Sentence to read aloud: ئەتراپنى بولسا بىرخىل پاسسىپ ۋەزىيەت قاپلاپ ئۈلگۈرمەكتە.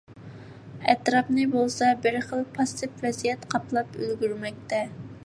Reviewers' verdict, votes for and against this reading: accepted, 2, 0